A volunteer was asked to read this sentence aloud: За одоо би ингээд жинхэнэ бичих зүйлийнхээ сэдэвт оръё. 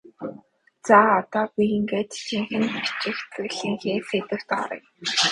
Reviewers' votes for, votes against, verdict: 2, 2, rejected